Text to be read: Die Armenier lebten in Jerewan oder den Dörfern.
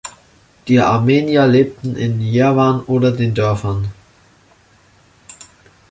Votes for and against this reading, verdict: 0, 2, rejected